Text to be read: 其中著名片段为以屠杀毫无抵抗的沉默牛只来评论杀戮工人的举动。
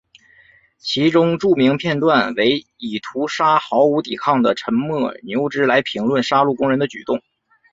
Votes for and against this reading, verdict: 4, 0, accepted